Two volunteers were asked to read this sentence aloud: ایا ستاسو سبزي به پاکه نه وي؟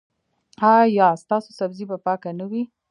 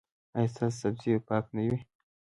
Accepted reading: first